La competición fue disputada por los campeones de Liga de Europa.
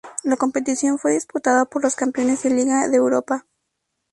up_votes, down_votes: 0, 2